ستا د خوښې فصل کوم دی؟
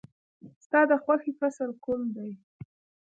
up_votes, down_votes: 0, 2